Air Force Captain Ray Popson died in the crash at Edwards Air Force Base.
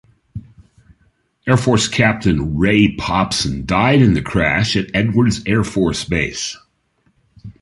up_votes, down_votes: 2, 0